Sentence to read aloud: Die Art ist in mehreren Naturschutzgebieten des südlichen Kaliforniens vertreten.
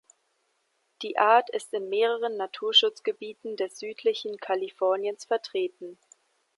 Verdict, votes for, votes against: accepted, 2, 0